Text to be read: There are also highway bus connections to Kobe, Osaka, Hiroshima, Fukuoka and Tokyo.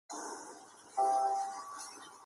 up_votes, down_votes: 0, 2